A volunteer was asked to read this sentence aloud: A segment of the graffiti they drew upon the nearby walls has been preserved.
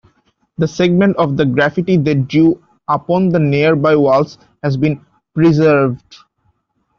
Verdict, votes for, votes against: rejected, 1, 2